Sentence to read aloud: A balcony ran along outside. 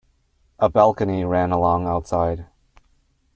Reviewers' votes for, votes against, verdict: 2, 0, accepted